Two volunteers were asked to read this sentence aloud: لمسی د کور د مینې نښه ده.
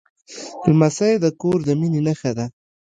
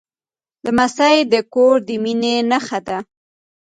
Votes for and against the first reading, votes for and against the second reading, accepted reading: 2, 0, 1, 2, first